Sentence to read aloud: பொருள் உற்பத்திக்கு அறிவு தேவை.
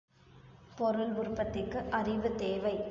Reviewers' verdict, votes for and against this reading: accepted, 2, 0